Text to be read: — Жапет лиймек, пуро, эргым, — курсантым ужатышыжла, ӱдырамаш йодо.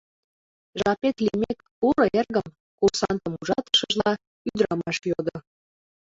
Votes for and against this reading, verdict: 2, 0, accepted